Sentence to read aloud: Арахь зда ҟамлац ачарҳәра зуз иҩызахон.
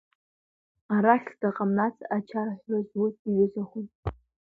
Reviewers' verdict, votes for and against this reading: accepted, 2, 0